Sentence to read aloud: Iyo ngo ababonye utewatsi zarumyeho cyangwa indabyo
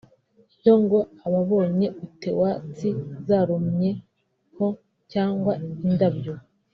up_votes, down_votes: 1, 2